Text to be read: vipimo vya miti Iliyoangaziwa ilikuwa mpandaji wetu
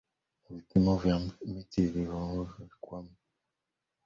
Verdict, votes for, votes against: rejected, 0, 2